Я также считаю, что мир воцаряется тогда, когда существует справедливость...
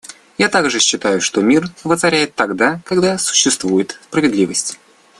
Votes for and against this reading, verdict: 0, 2, rejected